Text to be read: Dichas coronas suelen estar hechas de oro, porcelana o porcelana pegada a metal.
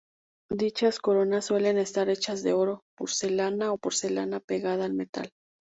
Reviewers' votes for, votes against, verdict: 2, 0, accepted